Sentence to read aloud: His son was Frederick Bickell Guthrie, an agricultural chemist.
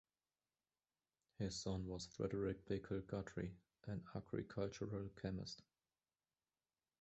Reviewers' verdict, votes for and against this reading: rejected, 1, 2